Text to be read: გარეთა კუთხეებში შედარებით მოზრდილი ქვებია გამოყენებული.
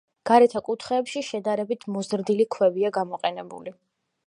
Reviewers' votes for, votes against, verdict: 2, 0, accepted